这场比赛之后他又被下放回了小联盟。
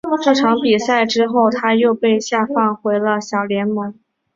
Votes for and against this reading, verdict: 7, 0, accepted